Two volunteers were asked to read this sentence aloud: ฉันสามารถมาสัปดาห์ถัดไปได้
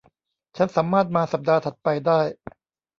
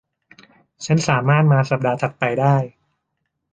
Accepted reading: second